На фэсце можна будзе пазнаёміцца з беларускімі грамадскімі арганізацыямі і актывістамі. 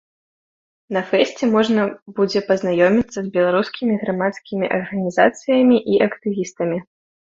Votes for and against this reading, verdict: 2, 0, accepted